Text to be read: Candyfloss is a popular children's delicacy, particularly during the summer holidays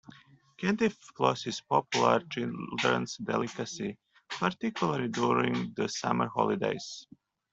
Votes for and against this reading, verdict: 0, 2, rejected